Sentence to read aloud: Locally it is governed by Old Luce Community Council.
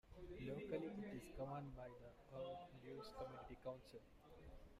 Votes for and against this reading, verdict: 0, 2, rejected